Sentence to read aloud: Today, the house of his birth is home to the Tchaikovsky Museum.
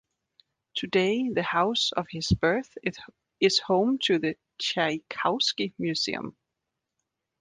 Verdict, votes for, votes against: rejected, 0, 2